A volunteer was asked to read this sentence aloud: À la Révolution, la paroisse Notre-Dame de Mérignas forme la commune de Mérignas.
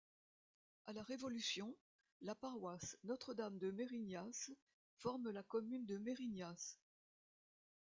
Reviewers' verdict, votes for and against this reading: accepted, 2, 0